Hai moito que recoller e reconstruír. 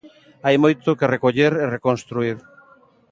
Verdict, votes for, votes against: rejected, 1, 2